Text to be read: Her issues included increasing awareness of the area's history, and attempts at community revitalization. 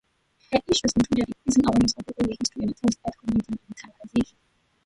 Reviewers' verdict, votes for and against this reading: rejected, 0, 2